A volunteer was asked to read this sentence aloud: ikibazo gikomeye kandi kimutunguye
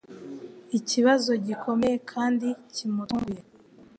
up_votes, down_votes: 2, 0